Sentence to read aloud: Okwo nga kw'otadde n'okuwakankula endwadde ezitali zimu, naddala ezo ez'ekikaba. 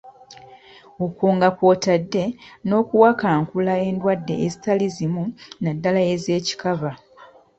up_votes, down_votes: 0, 2